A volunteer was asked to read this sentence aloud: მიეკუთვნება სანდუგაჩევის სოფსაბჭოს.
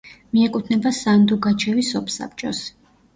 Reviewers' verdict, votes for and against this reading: accepted, 2, 0